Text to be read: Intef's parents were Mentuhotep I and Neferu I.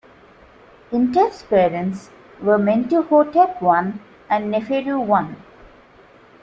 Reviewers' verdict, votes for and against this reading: accepted, 2, 1